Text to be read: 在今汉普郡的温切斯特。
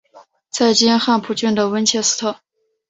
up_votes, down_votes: 5, 0